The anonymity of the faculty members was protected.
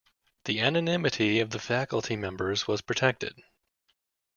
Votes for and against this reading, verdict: 2, 0, accepted